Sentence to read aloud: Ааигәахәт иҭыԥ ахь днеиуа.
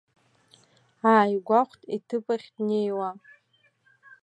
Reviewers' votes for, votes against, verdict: 2, 0, accepted